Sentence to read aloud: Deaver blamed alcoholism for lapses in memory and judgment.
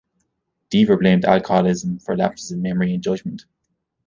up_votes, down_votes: 2, 0